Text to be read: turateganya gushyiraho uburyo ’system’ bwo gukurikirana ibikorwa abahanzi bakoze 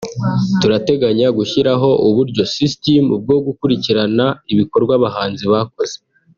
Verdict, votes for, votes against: accepted, 2, 0